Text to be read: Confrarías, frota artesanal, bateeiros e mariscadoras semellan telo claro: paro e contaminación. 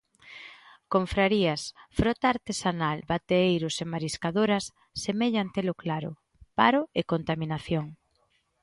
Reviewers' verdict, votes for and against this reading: accepted, 2, 0